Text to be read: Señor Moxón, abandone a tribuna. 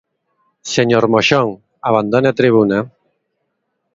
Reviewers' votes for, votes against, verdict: 2, 0, accepted